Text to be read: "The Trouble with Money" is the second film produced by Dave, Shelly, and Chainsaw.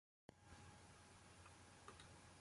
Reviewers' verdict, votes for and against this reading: rejected, 0, 2